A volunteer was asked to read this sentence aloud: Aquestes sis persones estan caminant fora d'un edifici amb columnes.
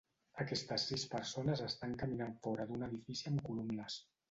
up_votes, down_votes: 0, 2